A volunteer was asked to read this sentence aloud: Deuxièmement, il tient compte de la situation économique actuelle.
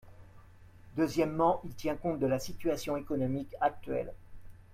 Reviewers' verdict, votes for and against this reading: accepted, 2, 0